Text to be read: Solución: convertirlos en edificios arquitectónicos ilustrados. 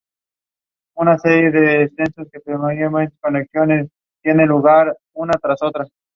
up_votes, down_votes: 0, 2